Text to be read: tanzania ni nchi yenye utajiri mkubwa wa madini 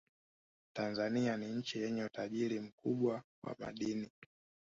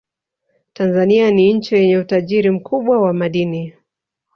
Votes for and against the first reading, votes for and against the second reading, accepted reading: 2, 0, 1, 2, first